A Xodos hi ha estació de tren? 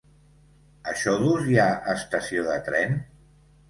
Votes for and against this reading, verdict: 2, 1, accepted